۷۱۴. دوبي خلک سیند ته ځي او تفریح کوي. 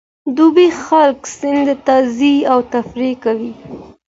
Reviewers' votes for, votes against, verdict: 0, 2, rejected